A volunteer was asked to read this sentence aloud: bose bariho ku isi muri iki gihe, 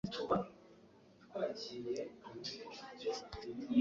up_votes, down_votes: 1, 2